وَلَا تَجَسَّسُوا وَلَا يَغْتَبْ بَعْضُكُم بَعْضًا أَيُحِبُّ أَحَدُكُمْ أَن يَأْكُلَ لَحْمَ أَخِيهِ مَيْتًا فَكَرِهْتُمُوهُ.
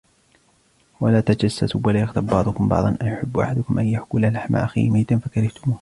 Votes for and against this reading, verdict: 2, 1, accepted